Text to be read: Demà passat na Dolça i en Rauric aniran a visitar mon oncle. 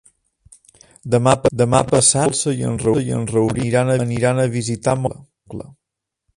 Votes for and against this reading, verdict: 0, 2, rejected